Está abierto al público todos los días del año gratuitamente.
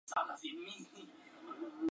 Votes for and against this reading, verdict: 0, 2, rejected